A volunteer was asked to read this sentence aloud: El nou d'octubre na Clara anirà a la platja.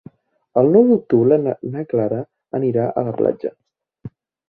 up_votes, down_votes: 1, 2